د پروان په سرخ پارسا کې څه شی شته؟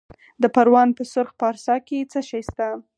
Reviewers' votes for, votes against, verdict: 4, 0, accepted